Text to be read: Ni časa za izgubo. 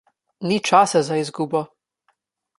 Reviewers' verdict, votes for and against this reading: accepted, 2, 0